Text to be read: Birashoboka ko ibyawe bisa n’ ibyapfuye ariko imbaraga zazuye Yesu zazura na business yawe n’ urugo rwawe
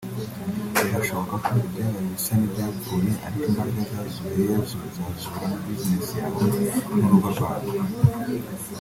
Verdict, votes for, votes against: rejected, 1, 2